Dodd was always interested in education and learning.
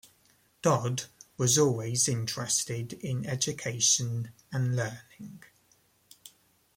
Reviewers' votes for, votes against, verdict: 1, 2, rejected